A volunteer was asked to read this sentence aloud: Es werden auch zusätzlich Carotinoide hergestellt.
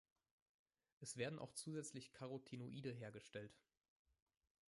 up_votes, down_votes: 1, 2